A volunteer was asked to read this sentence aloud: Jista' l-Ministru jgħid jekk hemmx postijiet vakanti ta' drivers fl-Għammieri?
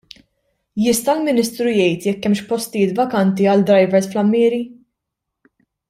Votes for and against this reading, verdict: 1, 2, rejected